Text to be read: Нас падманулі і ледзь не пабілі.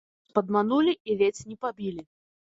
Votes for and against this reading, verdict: 1, 2, rejected